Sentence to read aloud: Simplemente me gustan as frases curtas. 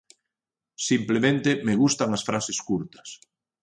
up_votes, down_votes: 1, 2